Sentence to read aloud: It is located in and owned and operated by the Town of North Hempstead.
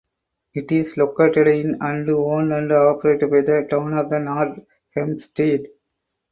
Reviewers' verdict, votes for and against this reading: rejected, 2, 4